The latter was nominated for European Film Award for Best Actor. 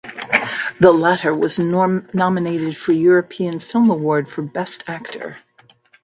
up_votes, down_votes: 0, 2